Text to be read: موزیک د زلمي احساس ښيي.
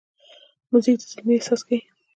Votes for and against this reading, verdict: 2, 0, accepted